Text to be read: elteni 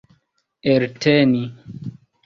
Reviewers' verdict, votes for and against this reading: rejected, 0, 2